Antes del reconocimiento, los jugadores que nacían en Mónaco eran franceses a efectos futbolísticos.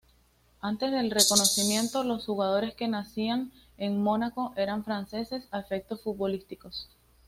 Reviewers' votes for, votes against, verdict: 2, 0, accepted